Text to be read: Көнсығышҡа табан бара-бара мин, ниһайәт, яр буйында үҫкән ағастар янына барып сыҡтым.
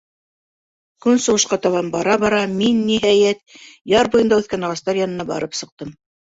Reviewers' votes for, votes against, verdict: 1, 2, rejected